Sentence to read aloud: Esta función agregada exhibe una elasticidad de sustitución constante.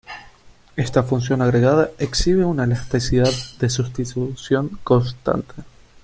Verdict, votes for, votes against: rejected, 0, 2